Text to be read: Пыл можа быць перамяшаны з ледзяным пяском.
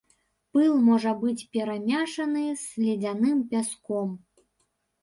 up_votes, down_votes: 1, 2